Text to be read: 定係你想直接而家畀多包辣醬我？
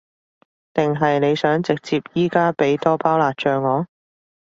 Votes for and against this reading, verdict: 1, 2, rejected